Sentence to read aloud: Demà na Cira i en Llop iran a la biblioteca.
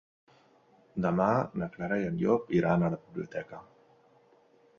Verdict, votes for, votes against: rejected, 0, 2